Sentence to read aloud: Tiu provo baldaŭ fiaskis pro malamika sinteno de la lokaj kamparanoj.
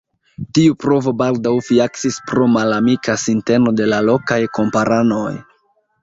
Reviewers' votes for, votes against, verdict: 1, 2, rejected